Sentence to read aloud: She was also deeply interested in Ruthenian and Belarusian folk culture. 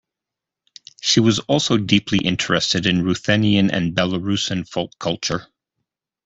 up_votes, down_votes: 2, 0